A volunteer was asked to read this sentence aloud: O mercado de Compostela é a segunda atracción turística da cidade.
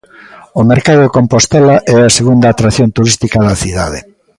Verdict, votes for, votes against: accepted, 2, 1